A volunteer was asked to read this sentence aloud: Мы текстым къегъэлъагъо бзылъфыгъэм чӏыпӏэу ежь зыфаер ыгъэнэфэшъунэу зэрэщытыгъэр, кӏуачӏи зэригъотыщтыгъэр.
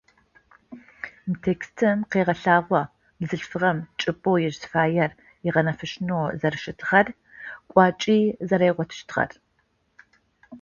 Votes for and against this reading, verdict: 2, 0, accepted